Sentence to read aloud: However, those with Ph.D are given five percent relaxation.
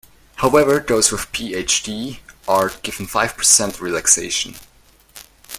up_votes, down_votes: 2, 0